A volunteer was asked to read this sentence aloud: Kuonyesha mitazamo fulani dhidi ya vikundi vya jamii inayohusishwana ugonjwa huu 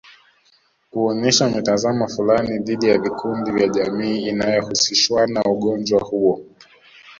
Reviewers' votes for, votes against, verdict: 3, 0, accepted